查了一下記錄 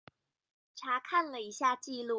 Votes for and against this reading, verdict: 1, 2, rejected